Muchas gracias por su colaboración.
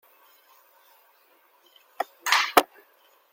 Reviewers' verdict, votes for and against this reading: rejected, 0, 2